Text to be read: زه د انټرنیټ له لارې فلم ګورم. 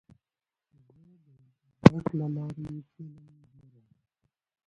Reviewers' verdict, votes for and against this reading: accepted, 2, 1